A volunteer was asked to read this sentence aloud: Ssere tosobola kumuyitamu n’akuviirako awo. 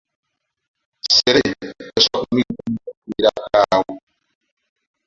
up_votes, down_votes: 2, 1